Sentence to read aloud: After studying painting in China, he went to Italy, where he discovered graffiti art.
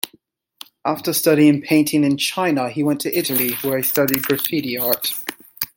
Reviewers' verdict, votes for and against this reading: rejected, 1, 2